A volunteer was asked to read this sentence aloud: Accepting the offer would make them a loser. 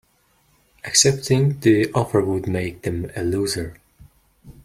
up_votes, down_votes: 2, 0